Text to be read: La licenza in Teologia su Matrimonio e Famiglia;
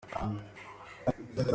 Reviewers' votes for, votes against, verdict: 0, 2, rejected